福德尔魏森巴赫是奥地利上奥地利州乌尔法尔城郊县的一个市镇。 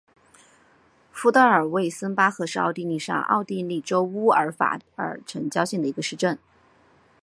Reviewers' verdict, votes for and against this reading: rejected, 2, 2